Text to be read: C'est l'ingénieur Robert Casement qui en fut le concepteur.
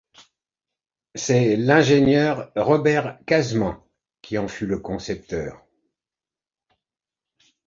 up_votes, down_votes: 2, 0